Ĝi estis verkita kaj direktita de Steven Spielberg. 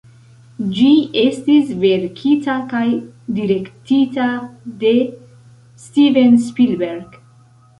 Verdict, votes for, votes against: rejected, 1, 2